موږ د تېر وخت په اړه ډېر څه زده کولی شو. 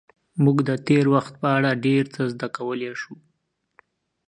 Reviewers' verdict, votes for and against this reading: accepted, 2, 0